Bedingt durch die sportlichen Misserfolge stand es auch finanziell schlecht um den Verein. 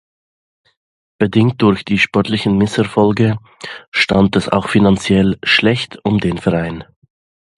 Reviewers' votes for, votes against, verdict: 2, 0, accepted